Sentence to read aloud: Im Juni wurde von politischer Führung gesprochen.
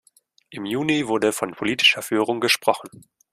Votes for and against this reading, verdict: 2, 0, accepted